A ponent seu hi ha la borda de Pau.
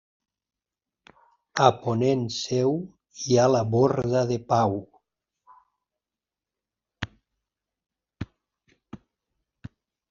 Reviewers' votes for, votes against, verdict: 3, 0, accepted